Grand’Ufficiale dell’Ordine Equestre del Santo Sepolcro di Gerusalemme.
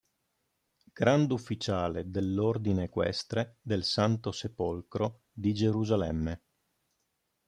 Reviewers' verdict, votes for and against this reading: accepted, 2, 0